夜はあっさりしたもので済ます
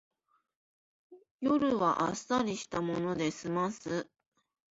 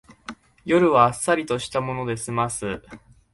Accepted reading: first